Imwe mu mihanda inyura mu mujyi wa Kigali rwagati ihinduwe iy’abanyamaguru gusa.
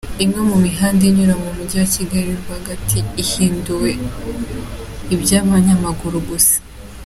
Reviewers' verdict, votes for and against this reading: rejected, 1, 2